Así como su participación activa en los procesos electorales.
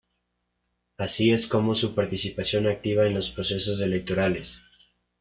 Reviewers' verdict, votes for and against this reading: rejected, 1, 2